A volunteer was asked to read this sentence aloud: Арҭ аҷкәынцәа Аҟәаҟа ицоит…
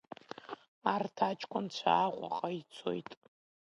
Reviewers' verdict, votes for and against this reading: accepted, 2, 0